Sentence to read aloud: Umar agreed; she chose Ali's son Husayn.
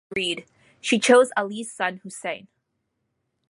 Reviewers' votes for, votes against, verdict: 0, 2, rejected